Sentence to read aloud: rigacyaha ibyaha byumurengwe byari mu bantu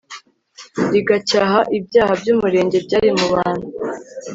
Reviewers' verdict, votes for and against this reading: rejected, 1, 2